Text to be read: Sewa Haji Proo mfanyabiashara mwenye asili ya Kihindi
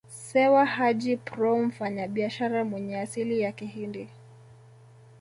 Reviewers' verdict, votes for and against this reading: rejected, 1, 2